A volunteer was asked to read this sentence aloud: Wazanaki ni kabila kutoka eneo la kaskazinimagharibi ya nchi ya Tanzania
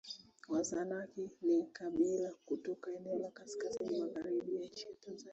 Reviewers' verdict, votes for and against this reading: rejected, 0, 2